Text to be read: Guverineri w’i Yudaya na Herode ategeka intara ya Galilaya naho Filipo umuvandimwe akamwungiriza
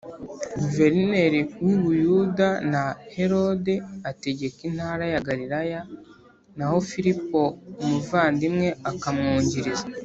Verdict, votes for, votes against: rejected, 0, 2